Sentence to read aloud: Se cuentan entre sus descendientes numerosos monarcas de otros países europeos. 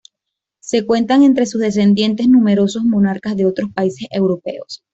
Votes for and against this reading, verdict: 2, 0, accepted